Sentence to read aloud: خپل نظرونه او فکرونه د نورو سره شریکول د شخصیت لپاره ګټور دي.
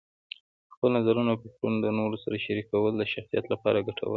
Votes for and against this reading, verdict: 1, 2, rejected